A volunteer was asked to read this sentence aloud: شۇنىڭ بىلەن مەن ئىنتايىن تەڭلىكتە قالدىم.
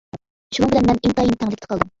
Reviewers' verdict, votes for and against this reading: rejected, 0, 2